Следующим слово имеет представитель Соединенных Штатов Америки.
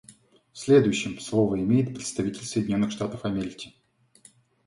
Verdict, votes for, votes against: accepted, 2, 0